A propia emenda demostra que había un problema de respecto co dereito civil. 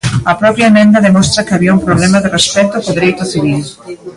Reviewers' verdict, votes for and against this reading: rejected, 0, 2